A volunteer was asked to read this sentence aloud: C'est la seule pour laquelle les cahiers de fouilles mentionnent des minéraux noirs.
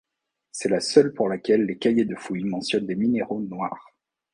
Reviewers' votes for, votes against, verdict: 2, 0, accepted